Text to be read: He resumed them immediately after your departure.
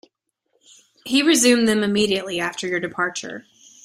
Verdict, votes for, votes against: accepted, 2, 0